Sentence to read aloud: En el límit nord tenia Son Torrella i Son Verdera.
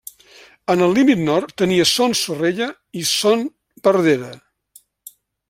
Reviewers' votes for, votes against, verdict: 1, 2, rejected